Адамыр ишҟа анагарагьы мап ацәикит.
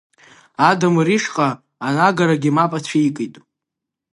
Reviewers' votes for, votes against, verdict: 2, 0, accepted